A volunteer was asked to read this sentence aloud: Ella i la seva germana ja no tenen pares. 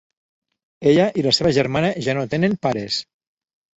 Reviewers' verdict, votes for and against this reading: accepted, 3, 0